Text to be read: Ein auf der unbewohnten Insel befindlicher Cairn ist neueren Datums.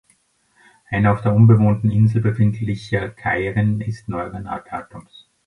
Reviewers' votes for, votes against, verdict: 0, 2, rejected